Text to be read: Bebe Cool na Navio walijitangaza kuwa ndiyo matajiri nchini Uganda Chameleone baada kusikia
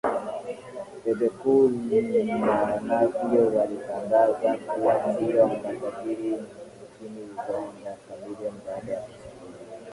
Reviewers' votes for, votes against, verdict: 1, 4, rejected